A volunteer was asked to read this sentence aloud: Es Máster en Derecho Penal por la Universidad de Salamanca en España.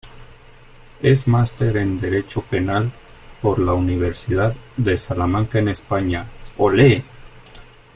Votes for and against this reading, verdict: 0, 2, rejected